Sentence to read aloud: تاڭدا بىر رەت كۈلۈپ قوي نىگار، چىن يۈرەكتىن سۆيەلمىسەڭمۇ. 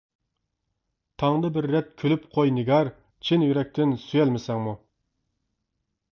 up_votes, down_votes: 2, 0